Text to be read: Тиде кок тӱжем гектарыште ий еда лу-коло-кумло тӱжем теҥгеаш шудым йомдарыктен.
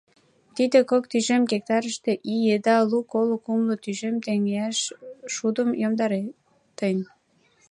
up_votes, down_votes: 0, 2